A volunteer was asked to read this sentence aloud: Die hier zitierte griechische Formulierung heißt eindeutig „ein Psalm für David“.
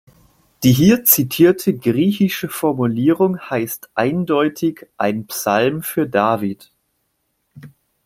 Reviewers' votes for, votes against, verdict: 2, 0, accepted